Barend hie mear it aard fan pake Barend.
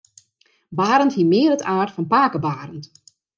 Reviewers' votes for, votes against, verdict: 2, 0, accepted